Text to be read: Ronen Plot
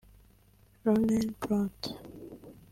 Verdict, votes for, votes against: accepted, 2, 0